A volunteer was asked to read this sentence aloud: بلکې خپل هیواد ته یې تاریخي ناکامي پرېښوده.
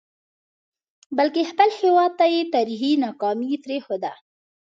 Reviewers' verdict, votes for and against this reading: accepted, 2, 0